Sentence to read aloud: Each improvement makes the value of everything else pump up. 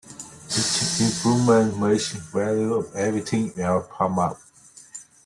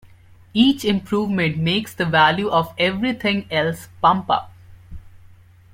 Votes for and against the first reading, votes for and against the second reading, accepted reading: 0, 2, 2, 0, second